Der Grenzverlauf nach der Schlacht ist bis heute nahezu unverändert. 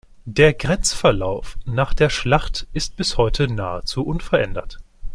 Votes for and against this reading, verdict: 2, 0, accepted